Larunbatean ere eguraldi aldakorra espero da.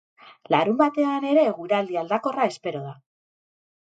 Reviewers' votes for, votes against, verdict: 8, 0, accepted